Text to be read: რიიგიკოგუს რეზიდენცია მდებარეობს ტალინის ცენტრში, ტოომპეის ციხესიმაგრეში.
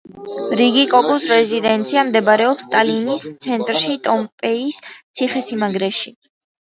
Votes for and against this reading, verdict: 1, 2, rejected